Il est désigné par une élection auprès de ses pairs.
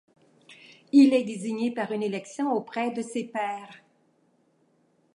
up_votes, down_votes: 2, 0